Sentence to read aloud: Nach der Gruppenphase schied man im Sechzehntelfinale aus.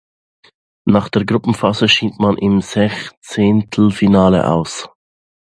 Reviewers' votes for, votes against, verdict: 2, 1, accepted